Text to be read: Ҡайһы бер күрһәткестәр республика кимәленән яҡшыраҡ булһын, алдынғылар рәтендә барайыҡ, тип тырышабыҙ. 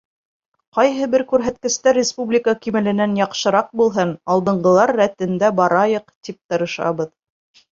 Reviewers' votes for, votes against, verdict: 3, 0, accepted